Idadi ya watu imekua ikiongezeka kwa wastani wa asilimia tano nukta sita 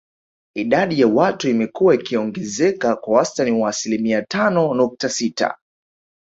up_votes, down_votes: 2, 0